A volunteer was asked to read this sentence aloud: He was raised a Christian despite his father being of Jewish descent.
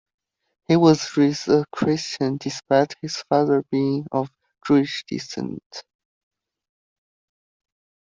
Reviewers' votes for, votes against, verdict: 2, 1, accepted